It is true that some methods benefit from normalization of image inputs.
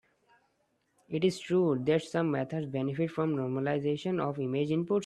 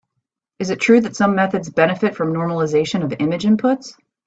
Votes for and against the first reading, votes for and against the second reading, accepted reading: 1, 2, 2, 1, second